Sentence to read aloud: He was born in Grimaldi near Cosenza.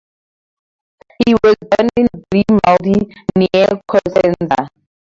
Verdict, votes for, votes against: rejected, 0, 4